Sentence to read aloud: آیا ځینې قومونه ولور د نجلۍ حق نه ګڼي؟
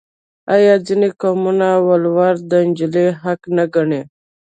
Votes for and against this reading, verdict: 1, 2, rejected